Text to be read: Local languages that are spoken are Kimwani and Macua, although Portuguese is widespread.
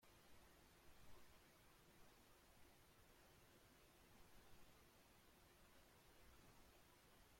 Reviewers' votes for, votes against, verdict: 0, 2, rejected